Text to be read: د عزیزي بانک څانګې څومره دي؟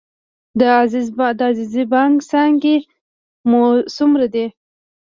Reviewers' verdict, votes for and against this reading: rejected, 0, 2